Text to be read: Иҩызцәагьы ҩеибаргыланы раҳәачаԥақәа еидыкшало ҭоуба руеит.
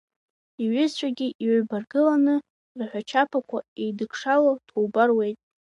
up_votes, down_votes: 1, 2